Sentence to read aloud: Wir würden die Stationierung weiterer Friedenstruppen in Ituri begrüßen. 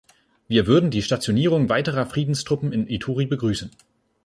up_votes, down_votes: 2, 0